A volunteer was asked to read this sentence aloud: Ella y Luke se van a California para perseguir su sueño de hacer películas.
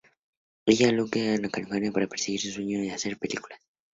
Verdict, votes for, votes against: rejected, 0, 2